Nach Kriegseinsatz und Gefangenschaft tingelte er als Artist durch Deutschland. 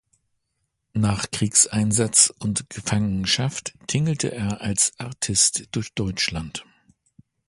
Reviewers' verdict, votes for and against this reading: accepted, 2, 0